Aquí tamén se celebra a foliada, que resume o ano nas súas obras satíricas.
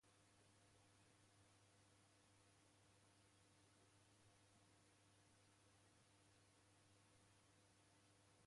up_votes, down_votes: 0, 3